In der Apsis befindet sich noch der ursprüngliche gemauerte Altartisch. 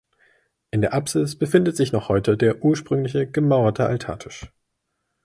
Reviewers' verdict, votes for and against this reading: rejected, 0, 2